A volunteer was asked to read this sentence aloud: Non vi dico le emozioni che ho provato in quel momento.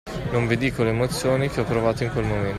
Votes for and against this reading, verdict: 1, 2, rejected